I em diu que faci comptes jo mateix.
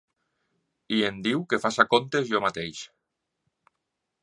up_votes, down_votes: 3, 2